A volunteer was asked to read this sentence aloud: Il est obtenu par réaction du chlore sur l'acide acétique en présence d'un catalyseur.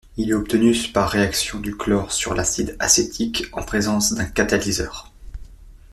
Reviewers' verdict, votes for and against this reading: accepted, 2, 0